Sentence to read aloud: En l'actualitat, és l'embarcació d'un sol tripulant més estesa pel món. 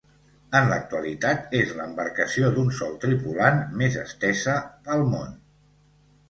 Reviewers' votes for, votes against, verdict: 2, 0, accepted